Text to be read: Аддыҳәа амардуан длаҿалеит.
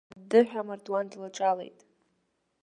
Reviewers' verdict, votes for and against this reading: rejected, 1, 2